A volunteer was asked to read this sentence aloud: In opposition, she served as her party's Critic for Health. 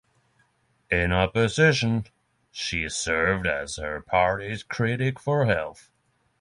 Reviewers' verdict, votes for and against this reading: accepted, 3, 0